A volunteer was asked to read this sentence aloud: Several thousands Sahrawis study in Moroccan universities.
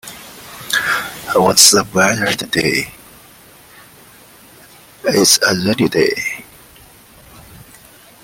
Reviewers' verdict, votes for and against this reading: rejected, 0, 2